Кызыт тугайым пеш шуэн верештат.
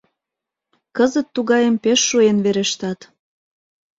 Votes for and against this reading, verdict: 2, 0, accepted